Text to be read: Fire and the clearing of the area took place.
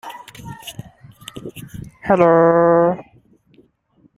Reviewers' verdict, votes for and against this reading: rejected, 0, 2